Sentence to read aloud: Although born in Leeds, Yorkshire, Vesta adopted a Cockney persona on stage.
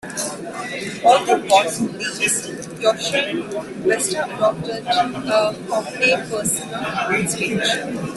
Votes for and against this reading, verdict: 0, 2, rejected